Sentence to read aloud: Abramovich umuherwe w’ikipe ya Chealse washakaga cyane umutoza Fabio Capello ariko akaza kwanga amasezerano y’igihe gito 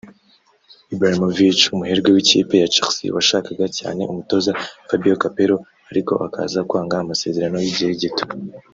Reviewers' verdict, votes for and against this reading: rejected, 0, 2